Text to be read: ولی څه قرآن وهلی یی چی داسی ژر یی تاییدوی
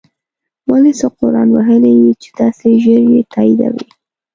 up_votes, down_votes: 3, 0